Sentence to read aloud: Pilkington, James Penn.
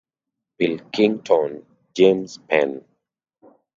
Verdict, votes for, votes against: accepted, 2, 0